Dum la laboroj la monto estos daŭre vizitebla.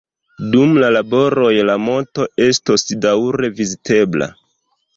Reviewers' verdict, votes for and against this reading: accepted, 2, 0